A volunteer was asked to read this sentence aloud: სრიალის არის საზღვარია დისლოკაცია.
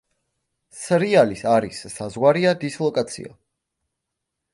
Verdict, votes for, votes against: accepted, 2, 0